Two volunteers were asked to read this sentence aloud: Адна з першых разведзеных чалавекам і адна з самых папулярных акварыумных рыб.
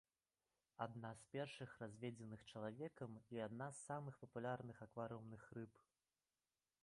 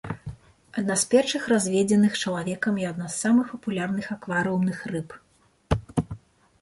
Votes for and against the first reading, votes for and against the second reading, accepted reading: 0, 2, 2, 0, second